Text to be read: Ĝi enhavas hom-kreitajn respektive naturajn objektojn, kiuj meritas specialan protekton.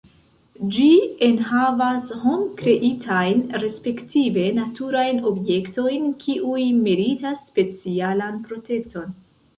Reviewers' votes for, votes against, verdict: 0, 2, rejected